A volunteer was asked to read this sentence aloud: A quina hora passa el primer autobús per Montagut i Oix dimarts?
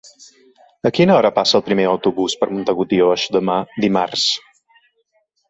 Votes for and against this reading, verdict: 0, 2, rejected